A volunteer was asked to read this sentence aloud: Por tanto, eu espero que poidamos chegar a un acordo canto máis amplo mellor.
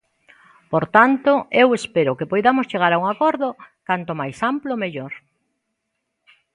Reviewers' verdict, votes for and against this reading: accepted, 2, 0